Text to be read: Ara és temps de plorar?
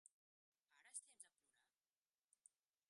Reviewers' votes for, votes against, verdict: 0, 3, rejected